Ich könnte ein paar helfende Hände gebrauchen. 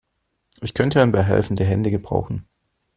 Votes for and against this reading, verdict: 2, 0, accepted